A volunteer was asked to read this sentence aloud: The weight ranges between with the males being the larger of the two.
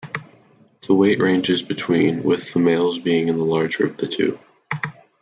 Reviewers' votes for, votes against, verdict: 0, 2, rejected